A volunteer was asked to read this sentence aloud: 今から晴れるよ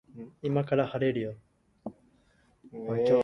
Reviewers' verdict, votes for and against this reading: rejected, 0, 2